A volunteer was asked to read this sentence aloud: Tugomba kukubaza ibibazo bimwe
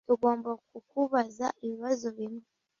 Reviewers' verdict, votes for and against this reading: accepted, 2, 0